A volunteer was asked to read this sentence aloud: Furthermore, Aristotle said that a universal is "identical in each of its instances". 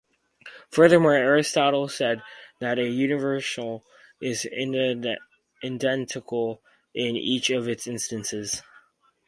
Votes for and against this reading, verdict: 0, 4, rejected